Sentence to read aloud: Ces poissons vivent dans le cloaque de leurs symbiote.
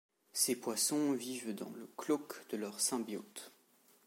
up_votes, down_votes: 1, 2